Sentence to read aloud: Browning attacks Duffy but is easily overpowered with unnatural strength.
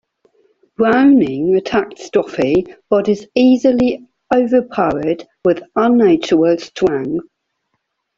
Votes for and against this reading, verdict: 0, 2, rejected